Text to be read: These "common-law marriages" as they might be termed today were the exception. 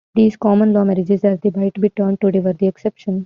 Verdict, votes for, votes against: accepted, 2, 0